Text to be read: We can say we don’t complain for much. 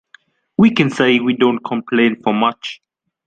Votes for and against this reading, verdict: 2, 0, accepted